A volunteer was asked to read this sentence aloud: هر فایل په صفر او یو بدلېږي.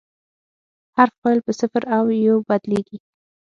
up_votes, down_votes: 0, 6